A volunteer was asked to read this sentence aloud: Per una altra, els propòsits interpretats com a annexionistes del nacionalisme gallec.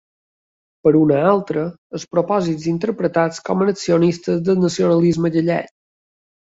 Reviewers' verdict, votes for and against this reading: accepted, 3, 0